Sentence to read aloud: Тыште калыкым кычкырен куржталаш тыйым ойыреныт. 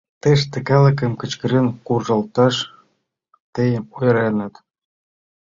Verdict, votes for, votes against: rejected, 1, 2